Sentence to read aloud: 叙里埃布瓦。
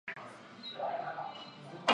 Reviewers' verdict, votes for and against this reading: rejected, 0, 2